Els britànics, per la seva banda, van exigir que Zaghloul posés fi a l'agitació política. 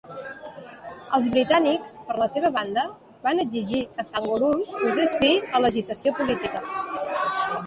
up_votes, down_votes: 0, 2